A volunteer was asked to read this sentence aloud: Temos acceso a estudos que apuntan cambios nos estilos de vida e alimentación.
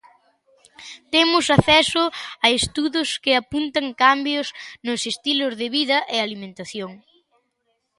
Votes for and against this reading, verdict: 2, 1, accepted